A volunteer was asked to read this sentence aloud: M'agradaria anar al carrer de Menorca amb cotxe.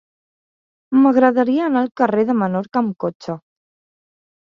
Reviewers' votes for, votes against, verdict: 3, 0, accepted